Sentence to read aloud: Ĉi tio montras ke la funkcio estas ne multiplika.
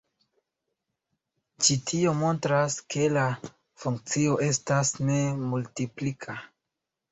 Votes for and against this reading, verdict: 2, 1, accepted